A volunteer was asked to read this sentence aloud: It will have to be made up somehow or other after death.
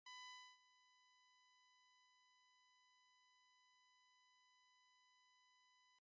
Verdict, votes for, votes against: rejected, 0, 2